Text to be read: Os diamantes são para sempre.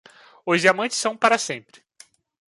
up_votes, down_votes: 2, 0